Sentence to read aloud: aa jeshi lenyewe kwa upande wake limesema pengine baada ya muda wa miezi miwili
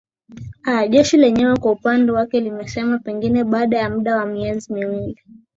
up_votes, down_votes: 2, 0